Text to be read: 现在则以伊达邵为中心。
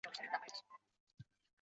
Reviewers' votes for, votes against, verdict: 1, 6, rejected